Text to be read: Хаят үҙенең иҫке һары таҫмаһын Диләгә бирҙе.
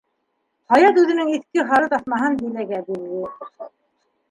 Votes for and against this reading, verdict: 2, 0, accepted